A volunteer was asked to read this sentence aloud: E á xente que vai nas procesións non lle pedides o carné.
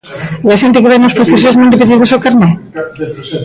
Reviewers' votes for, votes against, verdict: 0, 2, rejected